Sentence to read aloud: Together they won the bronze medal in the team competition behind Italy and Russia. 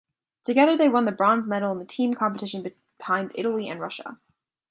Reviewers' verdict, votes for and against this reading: rejected, 0, 2